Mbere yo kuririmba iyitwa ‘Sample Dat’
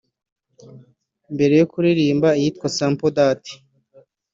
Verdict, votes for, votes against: accepted, 2, 0